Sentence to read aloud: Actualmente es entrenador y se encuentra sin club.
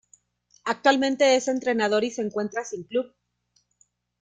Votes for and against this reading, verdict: 2, 0, accepted